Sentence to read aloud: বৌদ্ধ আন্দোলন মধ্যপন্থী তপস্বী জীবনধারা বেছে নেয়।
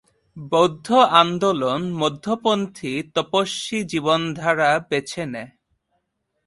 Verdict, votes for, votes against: rejected, 1, 2